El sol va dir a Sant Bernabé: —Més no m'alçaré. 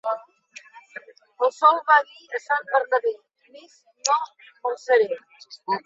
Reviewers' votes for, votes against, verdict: 2, 1, accepted